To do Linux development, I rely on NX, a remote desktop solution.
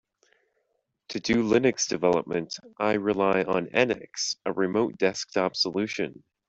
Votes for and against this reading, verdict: 2, 1, accepted